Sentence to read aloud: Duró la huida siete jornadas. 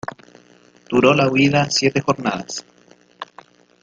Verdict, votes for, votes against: rejected, 0, 2